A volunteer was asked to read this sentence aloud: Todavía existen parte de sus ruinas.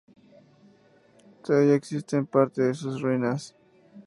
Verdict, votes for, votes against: accepted, 2, 0